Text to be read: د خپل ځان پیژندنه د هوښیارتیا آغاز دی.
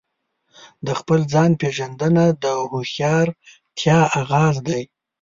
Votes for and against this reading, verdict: 2, 0, accepted